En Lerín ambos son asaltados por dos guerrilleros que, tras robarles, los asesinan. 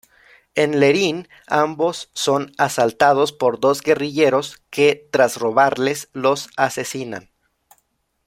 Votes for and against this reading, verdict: 0, 2, rejected